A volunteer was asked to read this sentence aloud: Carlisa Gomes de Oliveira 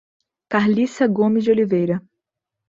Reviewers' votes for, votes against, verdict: 1, 2, rejected